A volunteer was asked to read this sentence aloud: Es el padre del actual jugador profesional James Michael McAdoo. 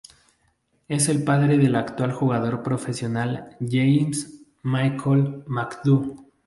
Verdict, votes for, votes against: accepted, 2, 0